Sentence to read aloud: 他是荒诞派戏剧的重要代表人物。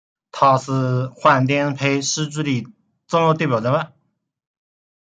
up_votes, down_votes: 0, 2